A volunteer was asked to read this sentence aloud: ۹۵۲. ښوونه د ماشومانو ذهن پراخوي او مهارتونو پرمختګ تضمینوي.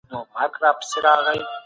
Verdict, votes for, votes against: rejected, 0, 2